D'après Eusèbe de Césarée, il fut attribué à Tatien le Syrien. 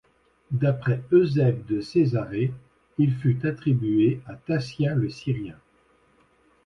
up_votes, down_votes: 1, 2